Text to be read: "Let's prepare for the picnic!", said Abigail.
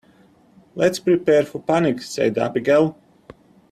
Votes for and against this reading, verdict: 0, 2, rejected